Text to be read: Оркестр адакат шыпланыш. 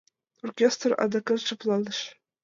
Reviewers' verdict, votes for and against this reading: accepted, 2, 0